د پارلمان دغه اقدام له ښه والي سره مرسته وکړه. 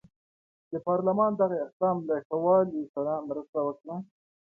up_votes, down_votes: 3, 0